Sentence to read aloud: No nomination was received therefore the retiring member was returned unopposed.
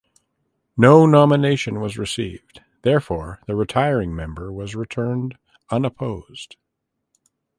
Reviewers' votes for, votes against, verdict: 2, 0, accepted